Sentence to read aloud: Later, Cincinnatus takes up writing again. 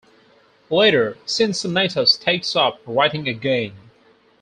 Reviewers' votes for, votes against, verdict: 4, 0, accepted